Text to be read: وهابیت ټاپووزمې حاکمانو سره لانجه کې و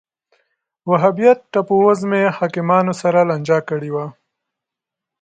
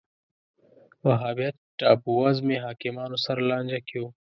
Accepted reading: second